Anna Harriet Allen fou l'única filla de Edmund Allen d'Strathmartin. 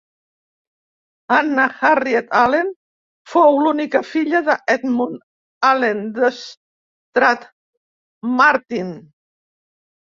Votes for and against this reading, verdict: 1, 2, rejected